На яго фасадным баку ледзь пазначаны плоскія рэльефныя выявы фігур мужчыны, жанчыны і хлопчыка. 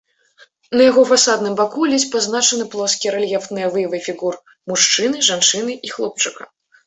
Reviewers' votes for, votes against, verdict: 1, 2, rejected